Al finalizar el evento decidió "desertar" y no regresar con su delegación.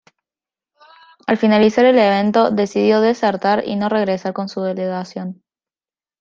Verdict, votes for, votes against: accepted, 2, 0